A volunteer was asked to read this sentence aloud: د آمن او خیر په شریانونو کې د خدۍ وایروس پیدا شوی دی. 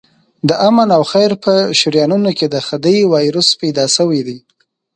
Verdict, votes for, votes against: accepted, 2, 0